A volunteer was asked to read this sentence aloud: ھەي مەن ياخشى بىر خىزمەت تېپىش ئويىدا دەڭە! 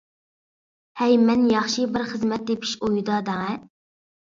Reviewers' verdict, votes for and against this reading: accepted, 2, 0